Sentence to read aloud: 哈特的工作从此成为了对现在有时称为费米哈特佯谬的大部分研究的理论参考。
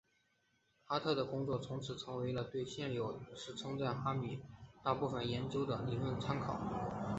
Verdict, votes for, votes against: accepted, 3, 1